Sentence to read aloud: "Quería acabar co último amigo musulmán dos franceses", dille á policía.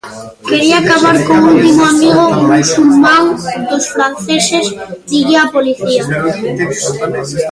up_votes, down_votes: 0, 2